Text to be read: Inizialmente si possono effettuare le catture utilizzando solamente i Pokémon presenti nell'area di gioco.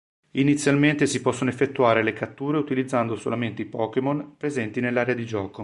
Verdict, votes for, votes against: accepted, 2, 0